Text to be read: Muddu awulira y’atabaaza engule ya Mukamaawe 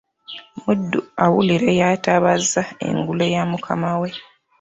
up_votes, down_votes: 3, 0